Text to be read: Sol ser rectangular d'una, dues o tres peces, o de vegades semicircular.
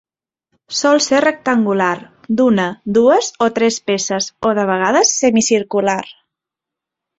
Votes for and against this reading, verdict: 2, 0, accepted